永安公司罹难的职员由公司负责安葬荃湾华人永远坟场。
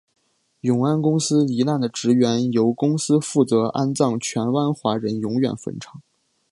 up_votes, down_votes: 3, 1